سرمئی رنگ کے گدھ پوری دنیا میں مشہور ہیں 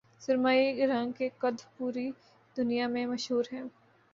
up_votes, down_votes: 2, 0